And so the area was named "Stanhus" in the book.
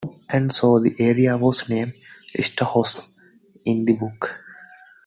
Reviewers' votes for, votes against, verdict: 1, 2, rejected